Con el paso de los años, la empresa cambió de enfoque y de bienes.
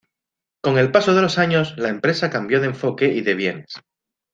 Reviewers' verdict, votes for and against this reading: accepted, 2, 0